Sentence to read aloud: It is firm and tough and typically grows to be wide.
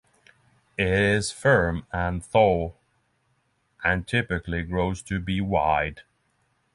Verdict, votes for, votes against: rejected, 0, 3